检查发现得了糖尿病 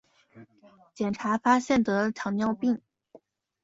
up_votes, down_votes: 3, 0